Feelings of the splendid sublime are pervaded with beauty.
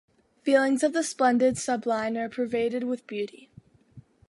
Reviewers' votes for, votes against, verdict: 2, 0, accepted